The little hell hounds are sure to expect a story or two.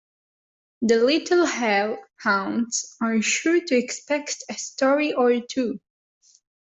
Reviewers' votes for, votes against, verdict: 2, 0, accepted